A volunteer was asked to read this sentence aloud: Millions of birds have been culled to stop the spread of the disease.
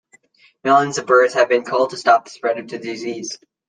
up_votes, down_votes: 2, 0